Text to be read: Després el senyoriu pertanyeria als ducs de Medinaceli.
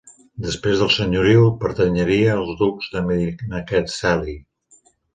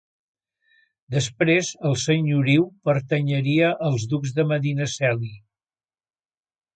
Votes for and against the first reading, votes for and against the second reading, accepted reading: 0, 2, 2, 0, second